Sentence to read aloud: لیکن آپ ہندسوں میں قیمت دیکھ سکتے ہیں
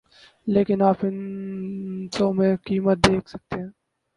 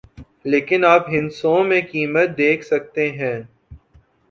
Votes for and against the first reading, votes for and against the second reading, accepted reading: 2, 6, 2, 0, second